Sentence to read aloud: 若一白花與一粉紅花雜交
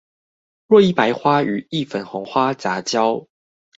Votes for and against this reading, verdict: 2, 0, accepted